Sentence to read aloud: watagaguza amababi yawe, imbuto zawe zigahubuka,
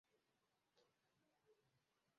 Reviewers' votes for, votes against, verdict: 0, 2, rejected